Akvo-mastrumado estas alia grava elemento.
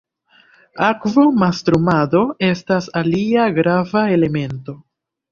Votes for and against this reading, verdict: 2, 0, accepted